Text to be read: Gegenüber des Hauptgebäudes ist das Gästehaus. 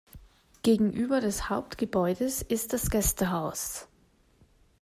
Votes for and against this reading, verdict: 2, 0, accepted